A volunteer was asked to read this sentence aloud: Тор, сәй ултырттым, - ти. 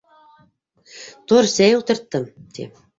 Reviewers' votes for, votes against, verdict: 1, 2, rejected